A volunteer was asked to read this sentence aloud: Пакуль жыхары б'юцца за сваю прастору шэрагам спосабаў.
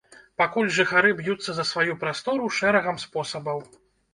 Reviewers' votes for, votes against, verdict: 2, 0, accepted